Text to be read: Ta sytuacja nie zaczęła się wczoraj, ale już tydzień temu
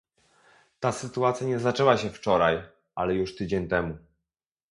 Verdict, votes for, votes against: accepted, 2, 0